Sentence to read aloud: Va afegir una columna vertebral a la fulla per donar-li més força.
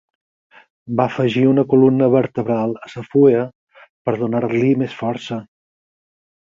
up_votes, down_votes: 4, 2